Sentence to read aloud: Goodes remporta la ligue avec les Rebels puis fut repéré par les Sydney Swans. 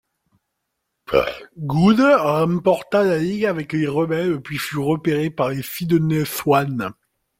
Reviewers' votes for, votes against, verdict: 0, 3, rejected